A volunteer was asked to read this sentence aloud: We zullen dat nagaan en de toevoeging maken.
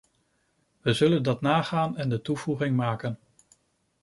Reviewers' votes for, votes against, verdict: 2, 0, accepted